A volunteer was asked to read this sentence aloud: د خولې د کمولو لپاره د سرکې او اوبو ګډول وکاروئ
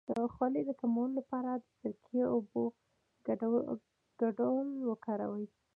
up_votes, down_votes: 0, 2